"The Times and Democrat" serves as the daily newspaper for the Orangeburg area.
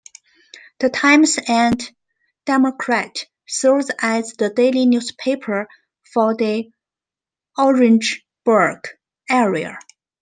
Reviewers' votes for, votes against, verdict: 2, 0, accepted